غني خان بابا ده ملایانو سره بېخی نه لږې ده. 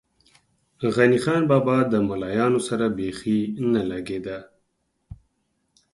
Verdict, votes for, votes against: accepted, 4, 0